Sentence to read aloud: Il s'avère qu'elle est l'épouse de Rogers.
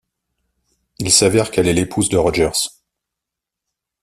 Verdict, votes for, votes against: accepted, 2, 0